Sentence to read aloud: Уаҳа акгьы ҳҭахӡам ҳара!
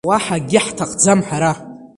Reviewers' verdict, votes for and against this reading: accepted, 2, 0